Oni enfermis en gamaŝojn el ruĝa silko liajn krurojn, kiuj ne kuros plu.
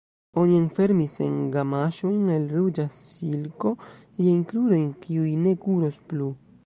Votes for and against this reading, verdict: 1, 2, rejected